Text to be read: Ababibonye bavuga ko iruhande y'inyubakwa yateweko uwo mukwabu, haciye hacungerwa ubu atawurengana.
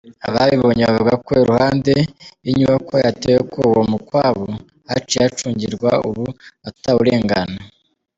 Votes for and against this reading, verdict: 1, 2, rejected